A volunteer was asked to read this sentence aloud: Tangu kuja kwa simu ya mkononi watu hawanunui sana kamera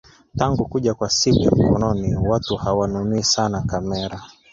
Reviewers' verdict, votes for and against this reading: rejected, 1, 2